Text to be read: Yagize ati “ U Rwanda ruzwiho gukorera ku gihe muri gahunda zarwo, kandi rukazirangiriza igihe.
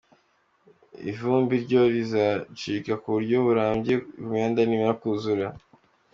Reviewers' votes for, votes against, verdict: 0, 3, rejected